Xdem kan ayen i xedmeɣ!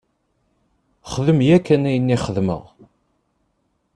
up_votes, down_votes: 0, 2